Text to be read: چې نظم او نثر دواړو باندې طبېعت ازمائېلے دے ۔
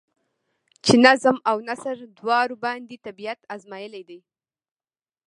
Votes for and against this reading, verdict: 0, 2, rejected